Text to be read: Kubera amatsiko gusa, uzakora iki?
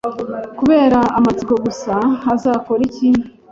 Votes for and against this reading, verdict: 1, 2, rejected